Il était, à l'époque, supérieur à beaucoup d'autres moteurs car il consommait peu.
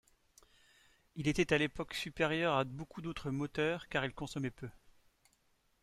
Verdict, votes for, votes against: accepted, 2, 0